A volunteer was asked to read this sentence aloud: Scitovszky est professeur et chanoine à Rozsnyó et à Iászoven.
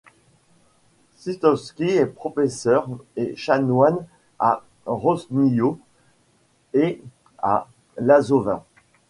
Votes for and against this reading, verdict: 0, 2, rejected